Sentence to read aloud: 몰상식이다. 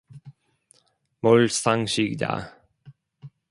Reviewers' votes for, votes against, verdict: 2, 0, accepted